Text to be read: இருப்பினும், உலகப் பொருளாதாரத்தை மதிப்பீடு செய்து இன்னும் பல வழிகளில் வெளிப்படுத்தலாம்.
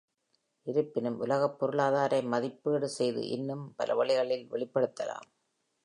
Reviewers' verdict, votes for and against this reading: rejected, 1, 2